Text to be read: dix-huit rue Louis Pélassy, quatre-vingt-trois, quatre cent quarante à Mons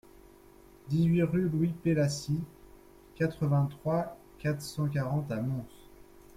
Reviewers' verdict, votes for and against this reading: accepted, 2, 0